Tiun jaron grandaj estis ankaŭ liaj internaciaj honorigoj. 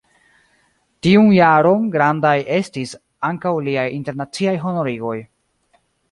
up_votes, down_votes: 2, 1